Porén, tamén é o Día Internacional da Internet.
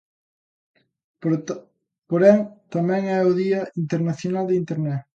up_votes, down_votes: 0, 2